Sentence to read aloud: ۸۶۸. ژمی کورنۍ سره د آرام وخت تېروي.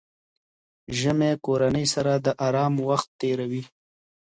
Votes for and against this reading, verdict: 0, 2, rejected